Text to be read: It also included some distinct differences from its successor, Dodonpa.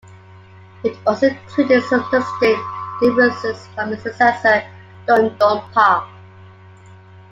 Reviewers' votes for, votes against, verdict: 0, 2, rejected